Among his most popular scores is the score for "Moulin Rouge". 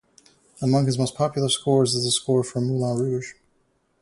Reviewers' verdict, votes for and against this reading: rejected, 2, 2